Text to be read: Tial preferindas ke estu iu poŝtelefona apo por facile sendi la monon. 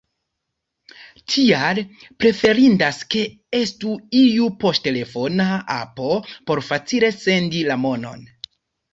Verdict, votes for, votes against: accepted, 2, 0